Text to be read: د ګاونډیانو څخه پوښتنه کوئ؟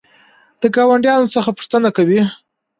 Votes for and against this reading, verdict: 2, 0, accepted